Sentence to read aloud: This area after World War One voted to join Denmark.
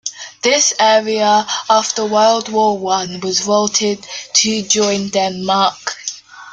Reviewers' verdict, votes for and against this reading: rejected, 0, 2